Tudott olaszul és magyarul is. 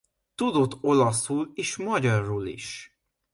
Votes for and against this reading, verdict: 2, 0, accepted